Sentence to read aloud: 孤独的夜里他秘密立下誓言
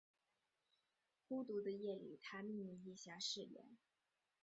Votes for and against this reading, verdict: 2, 0, accepted